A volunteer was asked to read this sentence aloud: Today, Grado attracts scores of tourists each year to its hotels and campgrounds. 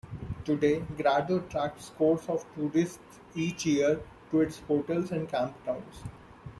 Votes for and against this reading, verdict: 2, 0, accepted